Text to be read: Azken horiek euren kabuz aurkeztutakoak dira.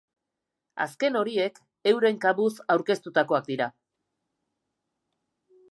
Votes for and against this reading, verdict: 2, 0, accepted